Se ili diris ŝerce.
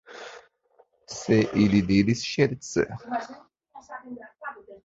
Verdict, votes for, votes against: rejected, 0, 2